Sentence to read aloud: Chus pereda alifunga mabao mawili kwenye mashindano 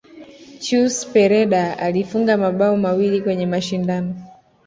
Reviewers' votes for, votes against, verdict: 2, 0, accepted